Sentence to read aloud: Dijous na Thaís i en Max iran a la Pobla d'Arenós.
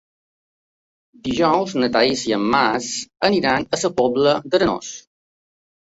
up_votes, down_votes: 1, 2